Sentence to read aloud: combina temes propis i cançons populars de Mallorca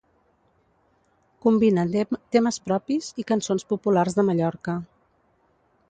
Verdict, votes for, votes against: rejected, 1, 2